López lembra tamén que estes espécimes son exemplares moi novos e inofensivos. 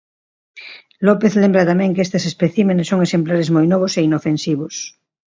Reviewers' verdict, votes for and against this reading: rejected, 0, 2